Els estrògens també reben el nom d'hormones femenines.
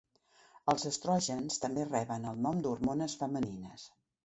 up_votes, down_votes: 3, 0